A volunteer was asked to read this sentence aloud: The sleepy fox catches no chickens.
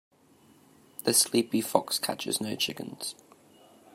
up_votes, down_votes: 2, 0